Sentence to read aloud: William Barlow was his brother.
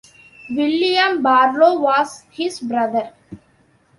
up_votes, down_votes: 2, 0